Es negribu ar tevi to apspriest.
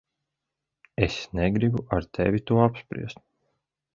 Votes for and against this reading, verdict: 2, 0, accepted